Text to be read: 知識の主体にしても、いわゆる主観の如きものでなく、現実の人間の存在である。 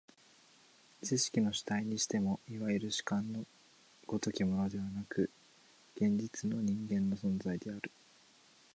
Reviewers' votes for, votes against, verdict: 5, 2, accepted